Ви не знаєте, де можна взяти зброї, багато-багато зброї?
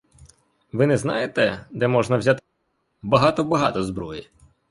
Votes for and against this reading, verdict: 0, 2, rejected